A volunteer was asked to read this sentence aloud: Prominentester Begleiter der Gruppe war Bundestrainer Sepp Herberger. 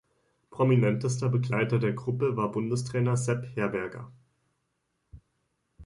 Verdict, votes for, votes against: accepted, 2, 0